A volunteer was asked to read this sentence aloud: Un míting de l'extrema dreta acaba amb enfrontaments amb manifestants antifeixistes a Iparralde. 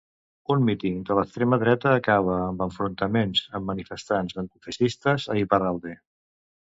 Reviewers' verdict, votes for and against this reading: accepted, 2, 1